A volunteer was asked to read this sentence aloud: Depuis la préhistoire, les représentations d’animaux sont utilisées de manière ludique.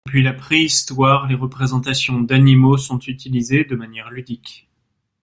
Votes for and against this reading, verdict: 1, 2, rejected